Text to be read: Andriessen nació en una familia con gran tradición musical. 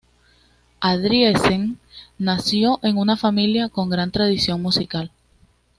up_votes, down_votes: 2, 0